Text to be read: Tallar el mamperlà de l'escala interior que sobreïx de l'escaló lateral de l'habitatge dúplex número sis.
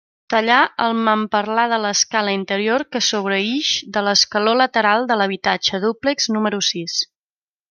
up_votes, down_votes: 2, 0